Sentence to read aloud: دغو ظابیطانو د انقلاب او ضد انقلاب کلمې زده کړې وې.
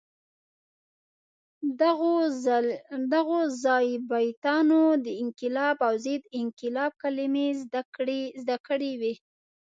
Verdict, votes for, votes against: rejected, 0, 2